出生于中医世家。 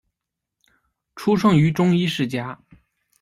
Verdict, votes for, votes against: accepted, 2, 0